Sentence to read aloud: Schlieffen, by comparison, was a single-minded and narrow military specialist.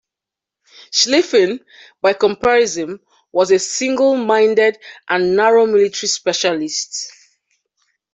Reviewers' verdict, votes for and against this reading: accepted, 2, 0